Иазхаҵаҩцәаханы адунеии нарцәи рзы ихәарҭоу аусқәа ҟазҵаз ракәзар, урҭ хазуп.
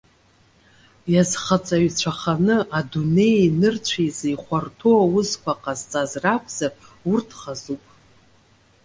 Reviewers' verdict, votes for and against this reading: accepted, 2, 0